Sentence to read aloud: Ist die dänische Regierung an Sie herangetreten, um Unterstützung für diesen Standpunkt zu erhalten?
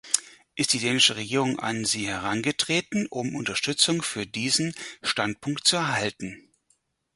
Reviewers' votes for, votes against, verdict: 2, 4, rejected